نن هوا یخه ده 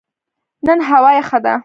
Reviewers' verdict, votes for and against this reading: accepted, 2, 0